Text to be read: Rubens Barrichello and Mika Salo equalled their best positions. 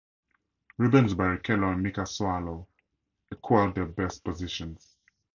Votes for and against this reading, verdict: 2, 0, accepted